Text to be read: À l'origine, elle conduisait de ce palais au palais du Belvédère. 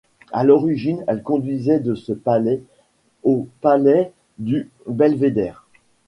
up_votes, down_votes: 1, 2